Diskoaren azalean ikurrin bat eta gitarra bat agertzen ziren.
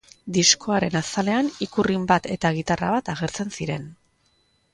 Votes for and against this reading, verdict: 2, 0, accepted